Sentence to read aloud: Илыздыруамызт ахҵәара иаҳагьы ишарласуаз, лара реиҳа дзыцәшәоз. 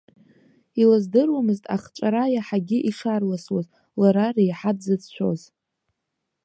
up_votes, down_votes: 2, 0